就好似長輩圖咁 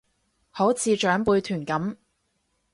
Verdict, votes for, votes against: rejected, 0, 2